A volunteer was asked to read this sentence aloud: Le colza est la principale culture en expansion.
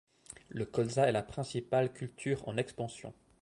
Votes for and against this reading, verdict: 2, 0, accepted